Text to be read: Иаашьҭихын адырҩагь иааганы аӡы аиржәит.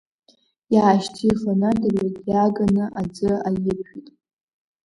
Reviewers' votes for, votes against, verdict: 2, 0, accepted